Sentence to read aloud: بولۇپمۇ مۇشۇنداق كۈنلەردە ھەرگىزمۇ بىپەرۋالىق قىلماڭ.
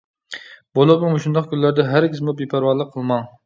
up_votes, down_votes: 2, 0